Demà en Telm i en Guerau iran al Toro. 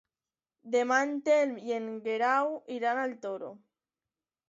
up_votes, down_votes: 2, 0